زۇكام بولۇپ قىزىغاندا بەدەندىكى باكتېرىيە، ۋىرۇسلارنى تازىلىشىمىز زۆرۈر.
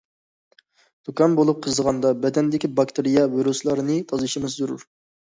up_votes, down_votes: 2, 0